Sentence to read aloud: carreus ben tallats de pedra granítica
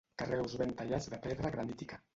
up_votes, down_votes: 2, 1